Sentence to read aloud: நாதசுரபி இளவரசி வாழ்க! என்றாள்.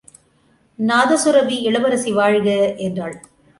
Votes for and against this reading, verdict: 2, 0, accepted